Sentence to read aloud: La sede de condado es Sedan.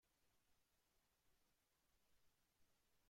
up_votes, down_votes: 0, 2